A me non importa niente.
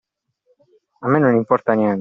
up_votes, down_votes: 2, 0